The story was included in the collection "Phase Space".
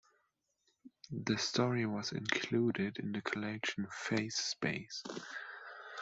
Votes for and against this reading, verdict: 2, 0, accepted